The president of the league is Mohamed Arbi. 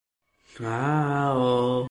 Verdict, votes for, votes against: rejected, 0, 2